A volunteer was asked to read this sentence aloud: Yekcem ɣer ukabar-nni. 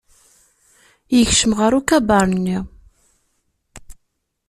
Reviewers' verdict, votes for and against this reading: rejected, 0, 2